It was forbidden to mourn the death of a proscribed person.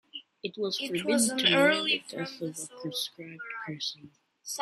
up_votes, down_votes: 0, 2